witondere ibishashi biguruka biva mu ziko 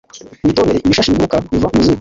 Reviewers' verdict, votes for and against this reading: accepted, 2, 1